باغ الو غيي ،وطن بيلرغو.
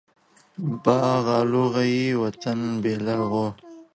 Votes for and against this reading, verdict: 2, 0, accepted